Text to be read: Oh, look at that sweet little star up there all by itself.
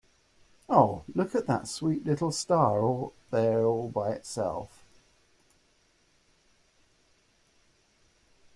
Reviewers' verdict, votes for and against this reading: rejected, 1, 2